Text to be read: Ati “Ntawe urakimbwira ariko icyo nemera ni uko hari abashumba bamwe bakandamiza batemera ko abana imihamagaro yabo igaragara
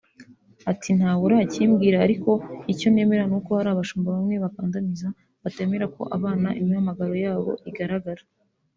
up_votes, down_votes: 1, 2